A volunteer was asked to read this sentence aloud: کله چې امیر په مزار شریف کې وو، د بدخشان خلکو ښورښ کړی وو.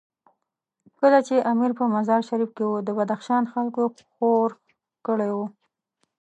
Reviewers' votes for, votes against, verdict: 0, 2, rejected